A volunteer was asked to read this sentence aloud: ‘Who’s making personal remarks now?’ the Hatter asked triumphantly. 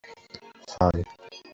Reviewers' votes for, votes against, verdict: 0, 2, rejected